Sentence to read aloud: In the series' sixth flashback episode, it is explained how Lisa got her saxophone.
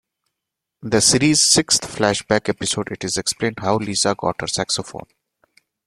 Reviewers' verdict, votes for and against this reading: rejected, 1, 2